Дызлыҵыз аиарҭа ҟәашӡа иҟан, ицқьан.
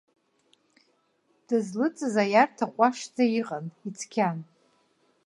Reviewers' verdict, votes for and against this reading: accepted, 2, 0